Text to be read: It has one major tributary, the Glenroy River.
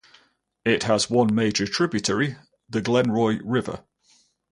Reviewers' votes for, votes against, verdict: 4, 0, accepted